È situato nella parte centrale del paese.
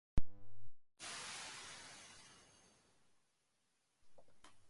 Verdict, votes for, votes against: rejected, 0, 3